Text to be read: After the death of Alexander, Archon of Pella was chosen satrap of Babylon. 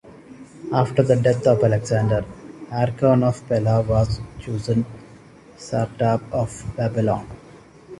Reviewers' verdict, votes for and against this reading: rejected, 1, 2